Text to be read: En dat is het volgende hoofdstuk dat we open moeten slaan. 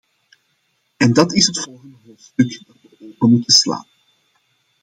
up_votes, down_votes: 0, 2